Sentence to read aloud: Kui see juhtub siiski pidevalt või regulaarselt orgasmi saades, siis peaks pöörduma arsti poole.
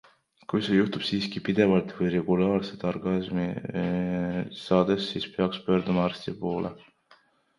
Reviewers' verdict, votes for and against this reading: rejected, 0, 2